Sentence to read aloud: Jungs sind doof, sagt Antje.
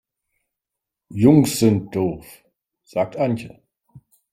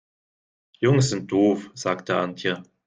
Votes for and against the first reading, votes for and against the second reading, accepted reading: 3, 0, 0, 2, first